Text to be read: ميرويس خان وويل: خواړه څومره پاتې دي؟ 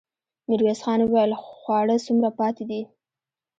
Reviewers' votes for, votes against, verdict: 1, 2, rejected